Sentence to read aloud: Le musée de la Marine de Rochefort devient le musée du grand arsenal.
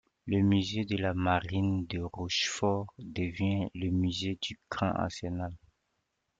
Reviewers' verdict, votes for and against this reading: accepted, 2, 1